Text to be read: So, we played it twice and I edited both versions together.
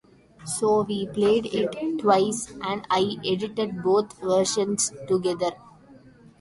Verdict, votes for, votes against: rejected, 1, 2